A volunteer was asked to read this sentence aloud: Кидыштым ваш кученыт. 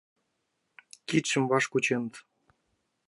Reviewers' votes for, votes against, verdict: 4, 3, accepted